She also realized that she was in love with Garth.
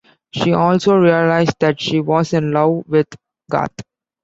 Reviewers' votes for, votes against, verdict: 0, 2, rejected